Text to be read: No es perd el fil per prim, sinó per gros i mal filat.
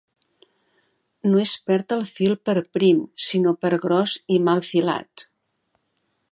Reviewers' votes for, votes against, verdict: 2, 0, accepted